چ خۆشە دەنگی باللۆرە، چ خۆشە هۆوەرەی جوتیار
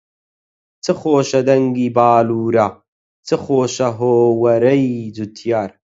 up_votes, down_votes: 0, 4